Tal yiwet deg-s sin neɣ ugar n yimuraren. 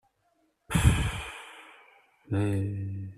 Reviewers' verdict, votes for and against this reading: rejected, 0, 2